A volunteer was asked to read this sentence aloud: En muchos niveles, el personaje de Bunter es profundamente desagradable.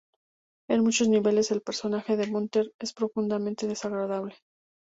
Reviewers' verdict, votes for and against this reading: accepted, 2, 0